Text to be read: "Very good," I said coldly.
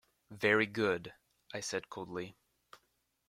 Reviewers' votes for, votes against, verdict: 2, 0, accepted